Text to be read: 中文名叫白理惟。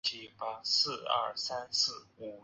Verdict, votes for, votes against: rejected, 0, 2